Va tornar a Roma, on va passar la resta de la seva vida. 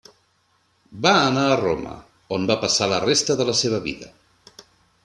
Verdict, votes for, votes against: rejected, 0, 2